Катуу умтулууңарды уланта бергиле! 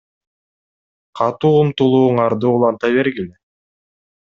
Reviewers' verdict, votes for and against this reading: rejected, 1, 2